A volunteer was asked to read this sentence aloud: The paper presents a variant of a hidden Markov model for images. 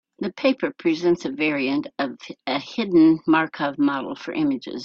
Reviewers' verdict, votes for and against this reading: accepted, 2, 0